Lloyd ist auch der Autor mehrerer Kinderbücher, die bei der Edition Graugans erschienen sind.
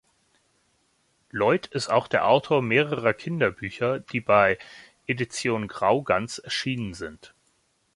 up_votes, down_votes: 0, 2